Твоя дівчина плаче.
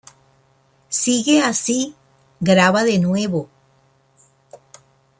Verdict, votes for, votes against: rejected, 0, 2